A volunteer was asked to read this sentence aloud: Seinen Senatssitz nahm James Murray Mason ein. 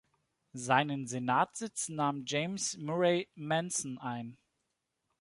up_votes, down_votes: 0, 2